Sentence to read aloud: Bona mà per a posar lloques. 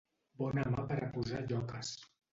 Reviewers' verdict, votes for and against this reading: accepted, 2, 1